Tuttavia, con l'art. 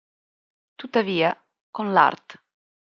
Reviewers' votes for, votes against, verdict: 2, 0, accepted